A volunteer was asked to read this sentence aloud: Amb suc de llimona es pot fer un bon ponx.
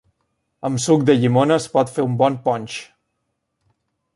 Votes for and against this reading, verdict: 2, 0, accepted